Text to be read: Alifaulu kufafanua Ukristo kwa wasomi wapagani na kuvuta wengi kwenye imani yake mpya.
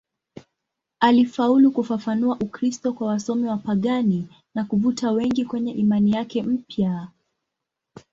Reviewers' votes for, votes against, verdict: 2, 0, accepted